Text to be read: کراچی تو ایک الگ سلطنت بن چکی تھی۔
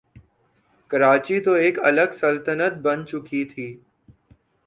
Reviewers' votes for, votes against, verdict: 2, 0, accepted